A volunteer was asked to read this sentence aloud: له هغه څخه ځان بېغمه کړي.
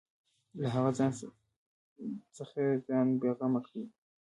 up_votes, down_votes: 0, 2